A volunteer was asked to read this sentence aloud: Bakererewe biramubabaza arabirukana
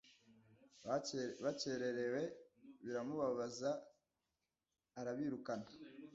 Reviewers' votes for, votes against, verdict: 1, 2, rejected